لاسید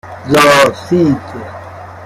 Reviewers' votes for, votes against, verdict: 0, 2, rejected